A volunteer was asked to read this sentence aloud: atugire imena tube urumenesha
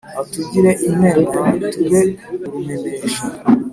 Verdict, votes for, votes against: accepted, 2, 0